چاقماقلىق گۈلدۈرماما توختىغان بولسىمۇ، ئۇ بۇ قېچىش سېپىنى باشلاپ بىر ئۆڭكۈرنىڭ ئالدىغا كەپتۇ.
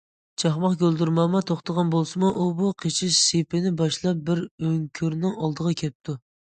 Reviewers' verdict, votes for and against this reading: rejected, 0, 2